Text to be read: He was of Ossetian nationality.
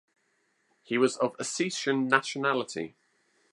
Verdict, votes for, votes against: accepted, 2, 0